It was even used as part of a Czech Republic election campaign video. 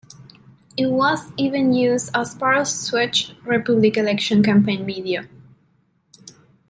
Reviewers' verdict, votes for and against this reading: rejected, 0, 2